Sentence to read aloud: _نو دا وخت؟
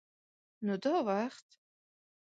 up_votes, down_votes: 2, 0